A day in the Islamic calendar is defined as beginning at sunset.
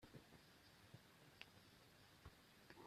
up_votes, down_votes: 0, 2